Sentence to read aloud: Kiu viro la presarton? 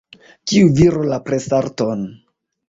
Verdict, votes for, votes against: rejected, 0, 2